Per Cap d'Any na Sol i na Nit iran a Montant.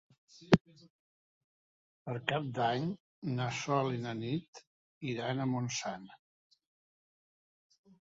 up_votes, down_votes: 1, 2